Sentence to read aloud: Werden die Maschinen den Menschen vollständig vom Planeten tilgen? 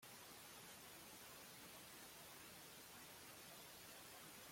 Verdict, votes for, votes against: rejected, 0, 2